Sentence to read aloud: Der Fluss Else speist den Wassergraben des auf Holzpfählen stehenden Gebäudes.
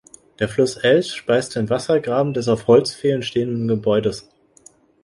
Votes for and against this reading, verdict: 1, 2, rejected